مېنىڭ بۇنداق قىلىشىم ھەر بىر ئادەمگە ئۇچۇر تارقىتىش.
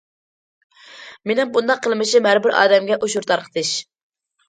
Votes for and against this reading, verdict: 0, 2, rejected